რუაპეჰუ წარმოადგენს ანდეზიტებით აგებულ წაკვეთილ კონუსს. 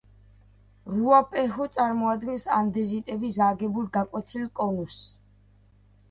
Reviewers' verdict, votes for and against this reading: rejected, 0, 2